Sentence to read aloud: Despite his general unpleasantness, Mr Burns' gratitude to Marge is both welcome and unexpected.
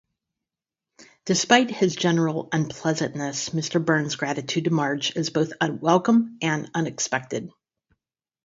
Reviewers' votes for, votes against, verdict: 2, 4, rejected